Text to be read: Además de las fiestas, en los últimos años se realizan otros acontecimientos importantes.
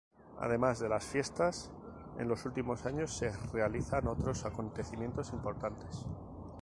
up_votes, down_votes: 2, 0